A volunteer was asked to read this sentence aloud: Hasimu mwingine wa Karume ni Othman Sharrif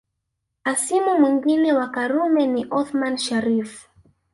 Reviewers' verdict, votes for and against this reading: rejected, 0, 2